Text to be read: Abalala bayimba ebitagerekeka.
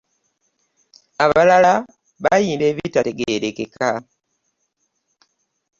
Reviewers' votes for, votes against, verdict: 0, 3, rejected